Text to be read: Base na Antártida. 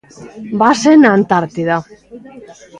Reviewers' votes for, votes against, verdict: 2, 0, accepted